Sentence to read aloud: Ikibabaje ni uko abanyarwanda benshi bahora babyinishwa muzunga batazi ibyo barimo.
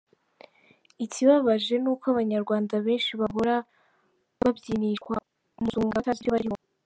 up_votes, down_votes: 1, 2